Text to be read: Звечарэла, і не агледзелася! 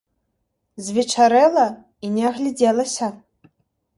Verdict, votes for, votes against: accepted, 2, 1